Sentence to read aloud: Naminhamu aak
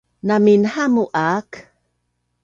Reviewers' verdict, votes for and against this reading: accepted, 2, 0